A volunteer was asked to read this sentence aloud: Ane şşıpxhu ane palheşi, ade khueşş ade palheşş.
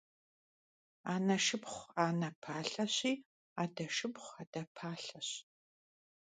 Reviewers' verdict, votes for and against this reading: rejected, 0, 2